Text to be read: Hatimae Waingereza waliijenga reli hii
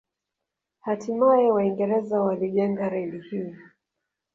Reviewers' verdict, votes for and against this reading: rejected, 1, 2